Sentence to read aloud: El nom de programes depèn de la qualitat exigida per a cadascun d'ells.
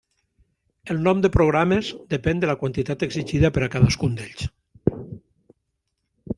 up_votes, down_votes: 1, 2